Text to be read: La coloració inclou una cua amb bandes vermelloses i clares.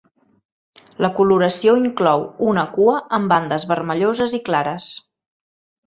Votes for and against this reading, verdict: 2, 0, accepted